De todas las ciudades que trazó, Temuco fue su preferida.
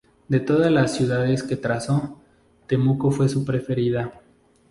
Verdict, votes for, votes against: accepted, 2, 0